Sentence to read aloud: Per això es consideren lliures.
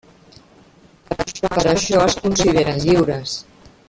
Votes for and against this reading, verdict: 0, 2, rejected